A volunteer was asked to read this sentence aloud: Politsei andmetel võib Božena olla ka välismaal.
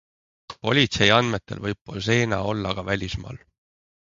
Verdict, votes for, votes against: accepted, 3, 0